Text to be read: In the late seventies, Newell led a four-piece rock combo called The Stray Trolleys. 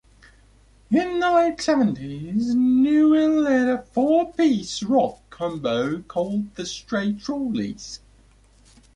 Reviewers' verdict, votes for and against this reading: accepted, 2, 0